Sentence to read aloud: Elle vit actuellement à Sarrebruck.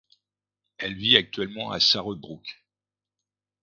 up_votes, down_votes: 2, 0